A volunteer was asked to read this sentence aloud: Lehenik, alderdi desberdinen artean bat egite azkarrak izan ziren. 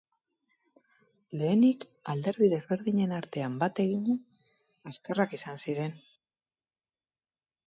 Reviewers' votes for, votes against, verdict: 0, 6, rejected